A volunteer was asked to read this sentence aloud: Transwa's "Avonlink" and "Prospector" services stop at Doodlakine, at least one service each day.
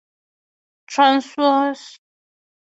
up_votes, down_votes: 0, 3